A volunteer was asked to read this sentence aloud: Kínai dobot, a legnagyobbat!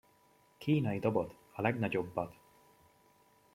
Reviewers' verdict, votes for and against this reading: accepted, 2, 0